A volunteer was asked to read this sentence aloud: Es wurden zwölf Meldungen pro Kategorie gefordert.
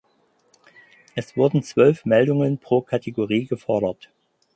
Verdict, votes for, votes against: accepted, 4, 0